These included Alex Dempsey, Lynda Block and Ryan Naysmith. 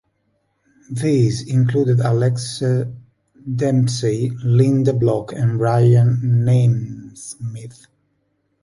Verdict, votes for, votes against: accepted, 3, 1